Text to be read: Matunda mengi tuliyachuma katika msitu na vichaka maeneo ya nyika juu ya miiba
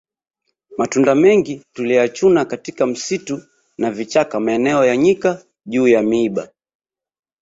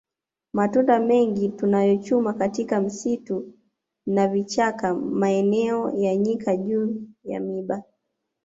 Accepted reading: first